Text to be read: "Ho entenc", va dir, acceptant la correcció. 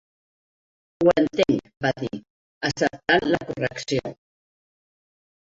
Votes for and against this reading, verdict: 0, 2, rejected